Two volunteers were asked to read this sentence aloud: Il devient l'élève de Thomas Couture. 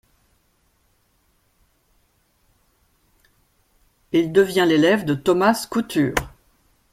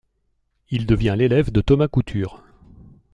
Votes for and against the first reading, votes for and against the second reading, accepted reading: 1, 2, 2, 0, second